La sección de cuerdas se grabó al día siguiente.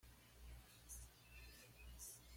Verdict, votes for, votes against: rejected, 0, 2